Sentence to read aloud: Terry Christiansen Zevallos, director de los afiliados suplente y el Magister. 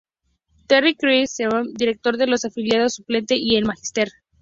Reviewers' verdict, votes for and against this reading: rejected, 0, 2